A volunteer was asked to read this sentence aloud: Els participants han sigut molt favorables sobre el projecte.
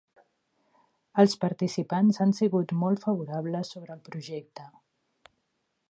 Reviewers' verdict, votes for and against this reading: rejected, 1, 2